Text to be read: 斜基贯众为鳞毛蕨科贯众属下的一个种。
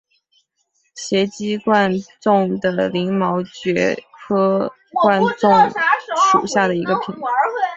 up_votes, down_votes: 3, 2